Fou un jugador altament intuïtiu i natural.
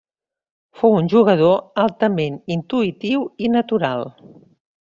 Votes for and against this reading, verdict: 3, 0, accepted